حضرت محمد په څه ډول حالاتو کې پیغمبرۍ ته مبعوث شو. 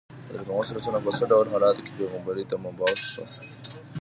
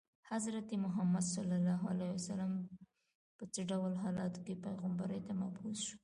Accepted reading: first